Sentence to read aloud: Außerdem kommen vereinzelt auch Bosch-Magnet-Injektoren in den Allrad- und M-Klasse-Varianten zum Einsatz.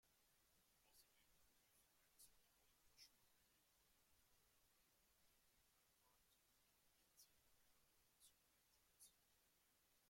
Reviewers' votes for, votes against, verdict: 0, 2, rejected